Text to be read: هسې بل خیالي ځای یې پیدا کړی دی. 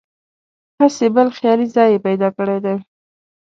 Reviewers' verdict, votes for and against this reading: accepted, 3, 0